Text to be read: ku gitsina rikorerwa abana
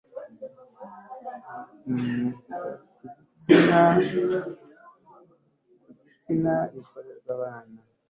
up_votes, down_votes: 2, 1